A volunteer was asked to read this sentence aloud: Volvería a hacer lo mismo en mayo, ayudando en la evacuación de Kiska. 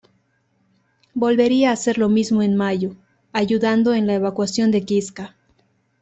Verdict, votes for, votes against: accepted, 2, 0